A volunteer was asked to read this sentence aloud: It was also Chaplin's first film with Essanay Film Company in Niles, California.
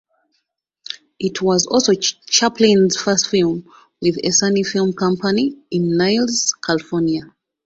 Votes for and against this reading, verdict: 1, 2, rejected